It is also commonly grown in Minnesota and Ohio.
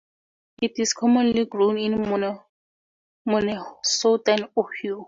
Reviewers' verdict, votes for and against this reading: rejected, 0, 2